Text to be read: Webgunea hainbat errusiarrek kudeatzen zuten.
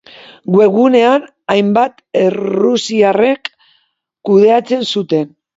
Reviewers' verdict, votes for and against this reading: rejected, 1, 2